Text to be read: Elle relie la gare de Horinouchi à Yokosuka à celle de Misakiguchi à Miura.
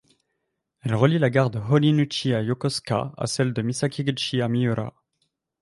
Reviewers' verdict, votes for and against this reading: accepted, 2, 0